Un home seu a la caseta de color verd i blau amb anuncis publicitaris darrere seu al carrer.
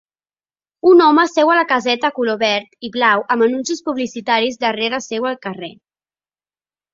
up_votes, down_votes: 1, 2